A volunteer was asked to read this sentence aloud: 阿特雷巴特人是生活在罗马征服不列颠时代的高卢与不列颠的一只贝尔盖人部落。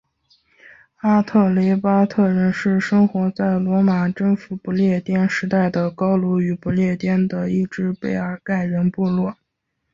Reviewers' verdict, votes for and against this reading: accepted, 2, 0